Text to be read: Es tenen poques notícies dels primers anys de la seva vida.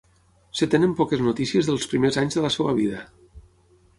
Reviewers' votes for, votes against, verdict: 3, 6, rejected